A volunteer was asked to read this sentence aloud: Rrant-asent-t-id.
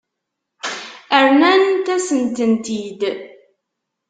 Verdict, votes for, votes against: rejected, 0, 2